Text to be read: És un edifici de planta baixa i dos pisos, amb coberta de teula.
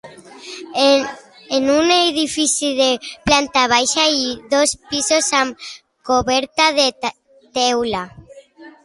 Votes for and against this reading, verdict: 0, 2, rejected